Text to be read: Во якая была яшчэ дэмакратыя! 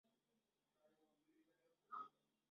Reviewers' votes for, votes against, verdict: 0, 2, rejected